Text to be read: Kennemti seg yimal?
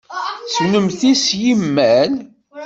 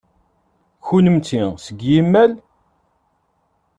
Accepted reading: second